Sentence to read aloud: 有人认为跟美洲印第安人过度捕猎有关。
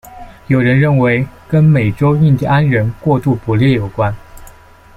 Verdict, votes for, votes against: accepted, 2, 0